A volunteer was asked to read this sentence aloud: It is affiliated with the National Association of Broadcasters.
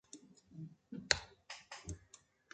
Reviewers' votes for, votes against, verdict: 0, 2, rejected